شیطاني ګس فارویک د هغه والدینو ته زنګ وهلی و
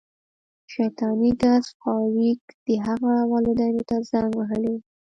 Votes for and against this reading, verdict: 1, 2, rejected